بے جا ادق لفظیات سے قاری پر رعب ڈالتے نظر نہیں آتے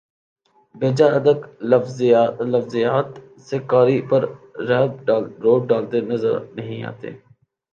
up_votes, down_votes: 1, 2